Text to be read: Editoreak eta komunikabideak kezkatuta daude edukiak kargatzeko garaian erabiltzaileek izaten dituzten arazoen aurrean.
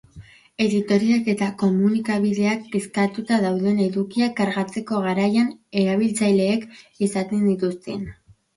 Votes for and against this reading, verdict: 1, 2, rejected